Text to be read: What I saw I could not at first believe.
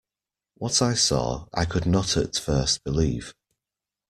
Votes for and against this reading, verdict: 2, 0, accepted